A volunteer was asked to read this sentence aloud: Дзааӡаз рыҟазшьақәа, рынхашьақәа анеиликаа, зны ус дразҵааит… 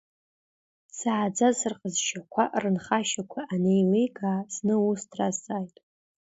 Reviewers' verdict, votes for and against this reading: accepted, 2, 0